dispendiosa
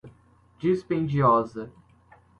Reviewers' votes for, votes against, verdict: 2, 0, accepted